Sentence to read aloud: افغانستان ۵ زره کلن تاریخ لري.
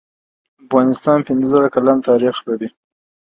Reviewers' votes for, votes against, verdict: 0, 2, rejected